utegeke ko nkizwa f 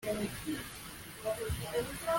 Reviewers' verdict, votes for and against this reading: rejected, 0, 2